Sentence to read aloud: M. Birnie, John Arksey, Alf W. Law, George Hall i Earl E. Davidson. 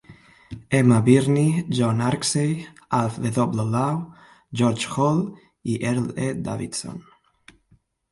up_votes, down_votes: 1, 2